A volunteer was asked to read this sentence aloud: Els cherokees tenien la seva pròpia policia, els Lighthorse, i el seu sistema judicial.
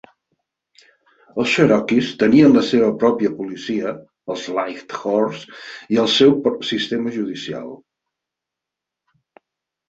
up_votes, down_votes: 2, 4